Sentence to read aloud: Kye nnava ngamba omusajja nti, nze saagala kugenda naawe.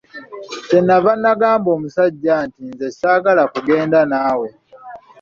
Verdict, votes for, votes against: rejected, 1, 2